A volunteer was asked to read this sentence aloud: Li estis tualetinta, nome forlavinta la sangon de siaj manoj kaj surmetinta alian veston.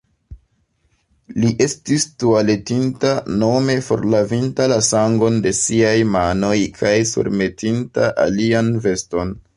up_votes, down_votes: 2, 0